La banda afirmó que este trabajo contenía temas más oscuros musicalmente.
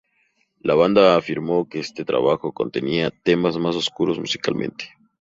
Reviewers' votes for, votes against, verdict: 2, 0, accepted